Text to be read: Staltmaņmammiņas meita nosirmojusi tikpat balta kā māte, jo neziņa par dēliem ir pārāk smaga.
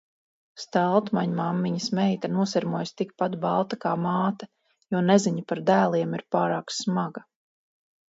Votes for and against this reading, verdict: 4, 0, accepted